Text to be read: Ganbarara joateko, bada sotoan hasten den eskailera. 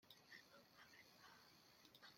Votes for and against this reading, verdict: 0, 2, rejected